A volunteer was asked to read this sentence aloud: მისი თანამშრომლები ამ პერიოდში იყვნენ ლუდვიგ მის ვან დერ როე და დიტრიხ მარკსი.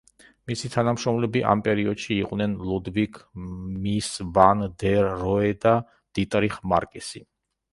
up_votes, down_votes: 0, 2